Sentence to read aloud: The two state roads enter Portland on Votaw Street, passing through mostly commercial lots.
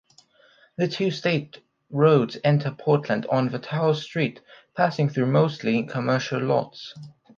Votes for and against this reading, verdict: 1, 2, rejected